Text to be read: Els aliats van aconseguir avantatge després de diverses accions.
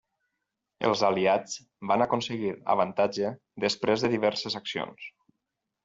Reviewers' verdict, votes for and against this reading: accepted, 6, 0